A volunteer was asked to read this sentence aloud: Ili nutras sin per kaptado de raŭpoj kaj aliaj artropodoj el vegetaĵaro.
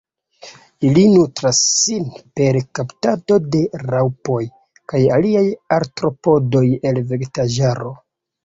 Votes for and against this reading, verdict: 0, 2, rejected